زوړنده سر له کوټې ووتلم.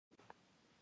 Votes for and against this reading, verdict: 0, 2, rejected